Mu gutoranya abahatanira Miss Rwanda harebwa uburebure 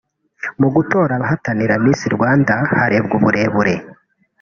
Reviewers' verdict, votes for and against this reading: accepted, 2, 0